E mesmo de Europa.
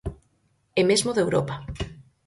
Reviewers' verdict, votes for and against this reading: accepted, 4, 0